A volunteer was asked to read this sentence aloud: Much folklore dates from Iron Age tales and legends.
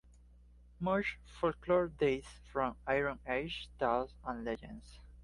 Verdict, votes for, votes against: accepted, 2, 0